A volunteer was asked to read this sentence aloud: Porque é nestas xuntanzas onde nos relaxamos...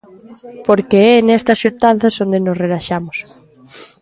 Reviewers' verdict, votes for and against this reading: rejected, 1, 2